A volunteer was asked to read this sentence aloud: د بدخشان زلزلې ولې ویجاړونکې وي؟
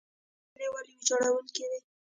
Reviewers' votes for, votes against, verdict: 0, 2, rejected